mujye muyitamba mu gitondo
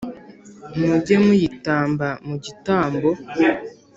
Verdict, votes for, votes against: rejected, 0, 2